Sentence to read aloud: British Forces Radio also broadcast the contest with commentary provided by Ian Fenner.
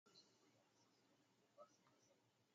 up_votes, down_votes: 0, 2